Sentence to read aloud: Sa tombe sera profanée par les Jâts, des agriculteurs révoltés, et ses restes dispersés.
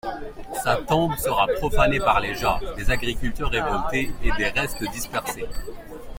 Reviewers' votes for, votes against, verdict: 1, 2, rejected